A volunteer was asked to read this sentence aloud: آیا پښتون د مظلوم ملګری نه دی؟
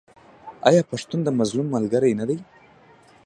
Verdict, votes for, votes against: rejected, 1, 2